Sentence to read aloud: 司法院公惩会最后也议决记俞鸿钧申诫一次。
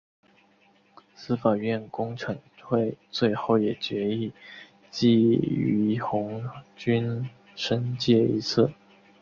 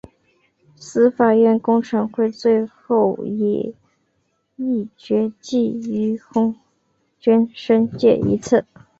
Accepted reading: first